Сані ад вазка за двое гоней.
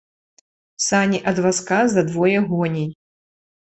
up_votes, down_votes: 2, 0